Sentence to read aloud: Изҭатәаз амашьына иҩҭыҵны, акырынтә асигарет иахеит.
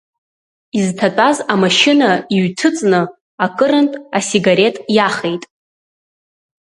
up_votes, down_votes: 2, 0